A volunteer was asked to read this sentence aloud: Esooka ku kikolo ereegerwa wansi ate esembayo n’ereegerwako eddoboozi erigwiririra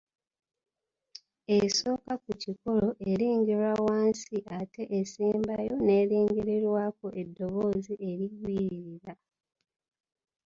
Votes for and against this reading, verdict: 0, 2, rejected